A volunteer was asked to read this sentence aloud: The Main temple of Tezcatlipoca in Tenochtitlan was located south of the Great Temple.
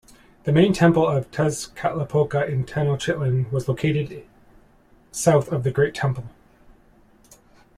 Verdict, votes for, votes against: accepted, 2, 0